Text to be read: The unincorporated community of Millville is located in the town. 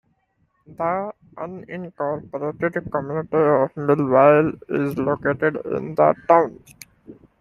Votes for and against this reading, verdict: 0, 2, rejected